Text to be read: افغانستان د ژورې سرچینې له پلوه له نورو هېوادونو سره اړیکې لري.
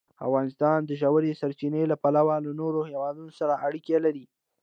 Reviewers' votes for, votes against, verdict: 2, 0, accepted